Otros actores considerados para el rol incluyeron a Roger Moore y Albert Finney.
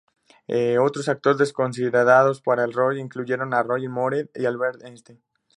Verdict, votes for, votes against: rejected, 0, 2